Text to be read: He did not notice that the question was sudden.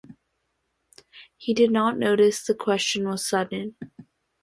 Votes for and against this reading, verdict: 0, 4, rejected